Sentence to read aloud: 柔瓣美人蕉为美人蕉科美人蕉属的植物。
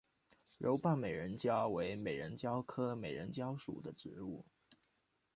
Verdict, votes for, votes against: accepted, 2, 0